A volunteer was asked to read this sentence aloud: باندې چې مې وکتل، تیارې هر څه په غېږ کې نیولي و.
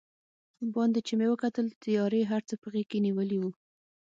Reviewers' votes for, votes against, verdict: 6, 0, accepted